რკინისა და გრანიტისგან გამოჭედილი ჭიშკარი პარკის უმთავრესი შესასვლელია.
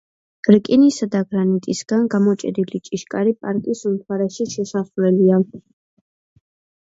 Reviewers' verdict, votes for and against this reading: accepted, 2, 1